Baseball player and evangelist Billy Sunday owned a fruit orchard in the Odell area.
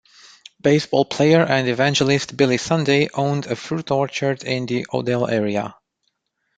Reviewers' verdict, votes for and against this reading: accepted, 2, 1